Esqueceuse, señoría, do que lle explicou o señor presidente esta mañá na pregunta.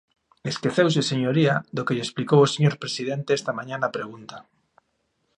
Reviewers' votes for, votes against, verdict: 2, 0, accepted